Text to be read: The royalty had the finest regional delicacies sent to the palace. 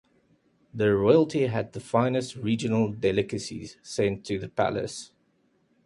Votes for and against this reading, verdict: 3, 0, accepted